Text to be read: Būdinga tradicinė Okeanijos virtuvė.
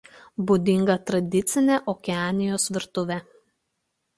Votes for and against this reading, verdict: 2, 0, accepted